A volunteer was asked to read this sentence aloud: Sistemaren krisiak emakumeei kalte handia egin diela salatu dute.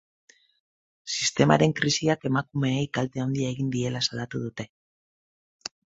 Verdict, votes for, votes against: rejected, 2, 4